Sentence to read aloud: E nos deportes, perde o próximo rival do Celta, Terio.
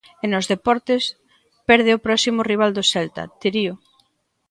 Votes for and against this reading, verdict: 0, 2, rejected